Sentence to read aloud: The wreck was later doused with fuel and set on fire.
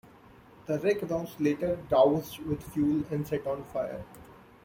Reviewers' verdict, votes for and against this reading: rejected, 0, 2